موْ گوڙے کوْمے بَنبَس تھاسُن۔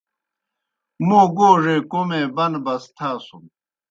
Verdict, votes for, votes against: accepted, 2, 0